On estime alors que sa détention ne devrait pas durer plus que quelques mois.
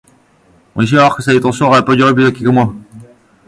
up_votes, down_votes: 0, 2